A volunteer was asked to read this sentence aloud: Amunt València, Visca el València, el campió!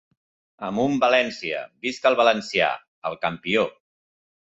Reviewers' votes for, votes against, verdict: 1, 3, rejected